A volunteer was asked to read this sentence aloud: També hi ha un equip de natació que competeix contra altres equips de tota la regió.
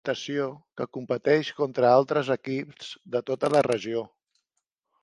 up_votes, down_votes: 0, 2